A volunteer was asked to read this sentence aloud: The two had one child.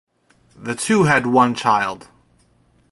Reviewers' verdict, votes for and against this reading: accepted, 2, 0